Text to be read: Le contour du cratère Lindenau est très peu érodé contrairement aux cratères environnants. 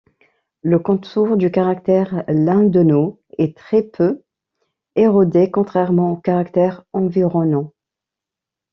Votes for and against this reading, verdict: 1, 2, rejected